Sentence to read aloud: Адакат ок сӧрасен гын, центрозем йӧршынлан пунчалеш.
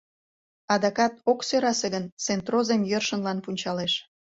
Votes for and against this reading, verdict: 1, 2, rejected